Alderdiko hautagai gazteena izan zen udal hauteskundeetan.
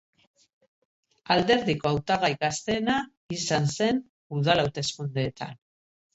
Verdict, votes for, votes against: rejected, 1, 2